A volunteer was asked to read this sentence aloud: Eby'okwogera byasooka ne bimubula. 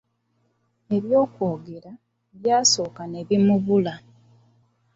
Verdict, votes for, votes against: accepted, 2, 0